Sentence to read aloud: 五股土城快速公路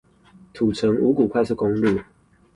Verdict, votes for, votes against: rejected, 0, 2